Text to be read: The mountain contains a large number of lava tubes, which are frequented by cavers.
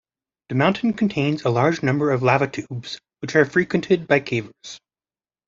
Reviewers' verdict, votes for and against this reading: rejected, 0, 2